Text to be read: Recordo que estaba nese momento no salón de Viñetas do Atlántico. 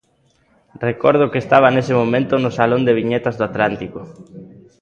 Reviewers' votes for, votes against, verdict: 1, 2, rejected